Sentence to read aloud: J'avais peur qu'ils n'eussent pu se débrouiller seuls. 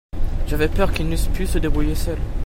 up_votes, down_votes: 2, 0